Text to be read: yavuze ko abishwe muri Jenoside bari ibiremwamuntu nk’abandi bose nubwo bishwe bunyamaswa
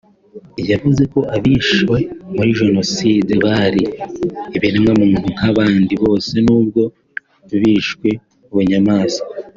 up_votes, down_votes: 2, 0